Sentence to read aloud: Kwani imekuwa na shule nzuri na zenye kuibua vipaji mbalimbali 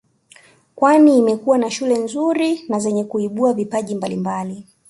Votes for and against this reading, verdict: 2, 0, accepted